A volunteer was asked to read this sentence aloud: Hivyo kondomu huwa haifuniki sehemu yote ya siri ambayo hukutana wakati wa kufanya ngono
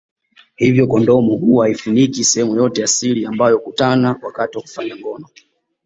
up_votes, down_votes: 2, 0